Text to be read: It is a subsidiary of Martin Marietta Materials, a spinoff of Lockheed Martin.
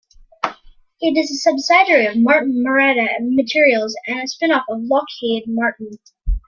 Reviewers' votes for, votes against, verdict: 0, 2, rejected